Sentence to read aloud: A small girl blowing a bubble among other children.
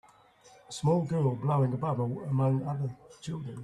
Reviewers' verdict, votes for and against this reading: rejected, 1, 2